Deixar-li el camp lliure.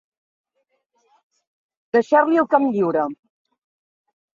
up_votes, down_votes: 2, 0